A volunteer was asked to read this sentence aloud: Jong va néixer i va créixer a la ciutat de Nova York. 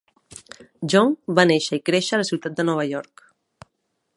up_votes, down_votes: 0, 2